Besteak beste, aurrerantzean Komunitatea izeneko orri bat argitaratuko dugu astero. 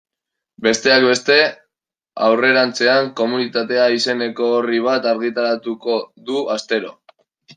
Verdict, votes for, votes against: rejected, 1, 2